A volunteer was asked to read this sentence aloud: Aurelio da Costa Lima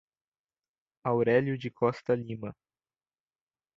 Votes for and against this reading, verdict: 0, 2, rejected